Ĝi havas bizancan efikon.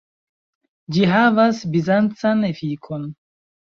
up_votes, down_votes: 2, 0